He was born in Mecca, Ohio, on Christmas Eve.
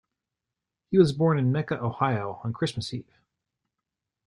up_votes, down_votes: 2, 0